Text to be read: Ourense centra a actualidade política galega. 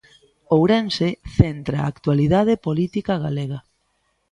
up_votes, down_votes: 2, 0